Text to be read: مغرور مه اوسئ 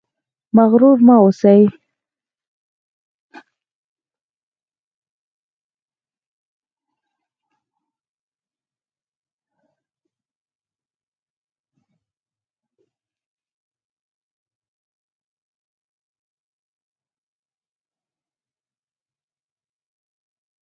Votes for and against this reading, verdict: 2, 4, rejected